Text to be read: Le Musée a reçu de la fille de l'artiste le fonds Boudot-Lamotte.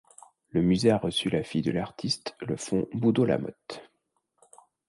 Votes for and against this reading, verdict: 1, 2, rejected